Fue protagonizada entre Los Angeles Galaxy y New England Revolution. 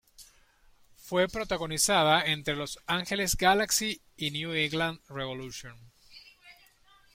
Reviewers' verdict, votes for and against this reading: accepted, 2, 0